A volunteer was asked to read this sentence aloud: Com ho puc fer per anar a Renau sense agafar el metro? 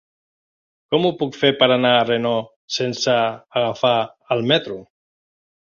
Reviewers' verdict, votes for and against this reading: rejected, 0, 2